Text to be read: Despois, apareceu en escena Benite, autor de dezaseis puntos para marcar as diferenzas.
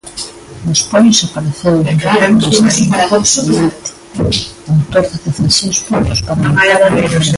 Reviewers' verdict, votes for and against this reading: rejected, 0, 2